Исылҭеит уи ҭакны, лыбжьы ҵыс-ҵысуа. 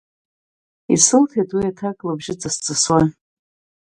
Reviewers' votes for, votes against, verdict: 1, 2, rejected